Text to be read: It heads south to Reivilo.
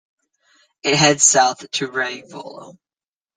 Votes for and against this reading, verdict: 1, 2, rejected